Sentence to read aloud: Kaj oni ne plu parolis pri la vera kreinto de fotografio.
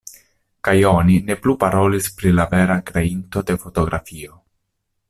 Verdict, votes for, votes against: accepted, 2, 0